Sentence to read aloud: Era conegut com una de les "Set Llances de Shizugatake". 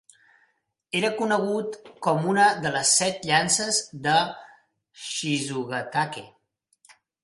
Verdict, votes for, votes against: accepted, 3, 0